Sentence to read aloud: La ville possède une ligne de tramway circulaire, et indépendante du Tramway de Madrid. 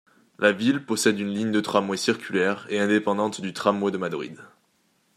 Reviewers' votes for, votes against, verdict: 2, 0, accepted